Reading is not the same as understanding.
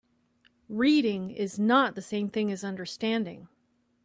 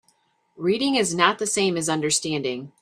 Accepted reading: second